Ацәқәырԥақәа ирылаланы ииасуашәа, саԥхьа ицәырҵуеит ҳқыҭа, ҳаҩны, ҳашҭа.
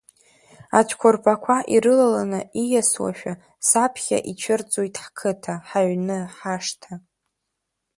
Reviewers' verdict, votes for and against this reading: accepted, 3, 1